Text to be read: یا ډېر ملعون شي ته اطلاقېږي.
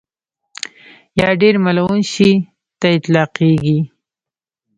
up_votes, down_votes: 2, 1